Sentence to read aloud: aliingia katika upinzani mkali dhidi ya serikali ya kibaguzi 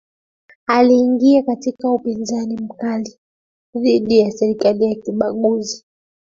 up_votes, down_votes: 2, 1